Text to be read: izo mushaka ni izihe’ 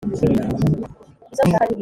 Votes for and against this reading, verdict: 0, 2, rejected